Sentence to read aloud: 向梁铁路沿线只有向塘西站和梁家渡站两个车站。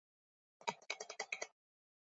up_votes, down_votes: 1, 3